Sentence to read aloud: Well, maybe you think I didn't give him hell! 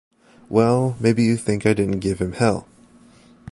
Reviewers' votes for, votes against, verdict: 3, 0, accepted